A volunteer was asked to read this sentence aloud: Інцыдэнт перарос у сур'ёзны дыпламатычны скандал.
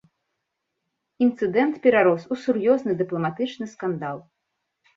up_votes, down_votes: 2, 0